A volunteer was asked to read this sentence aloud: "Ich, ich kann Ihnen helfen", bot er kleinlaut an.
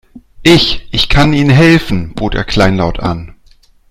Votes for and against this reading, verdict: 2, 0, accepted